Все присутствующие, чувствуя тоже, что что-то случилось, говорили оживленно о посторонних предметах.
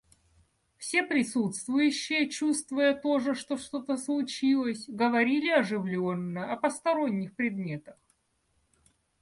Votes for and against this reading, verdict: 2, 0, accepted